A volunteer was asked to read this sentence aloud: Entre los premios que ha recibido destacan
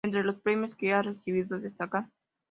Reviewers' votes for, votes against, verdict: 2, 0, accepted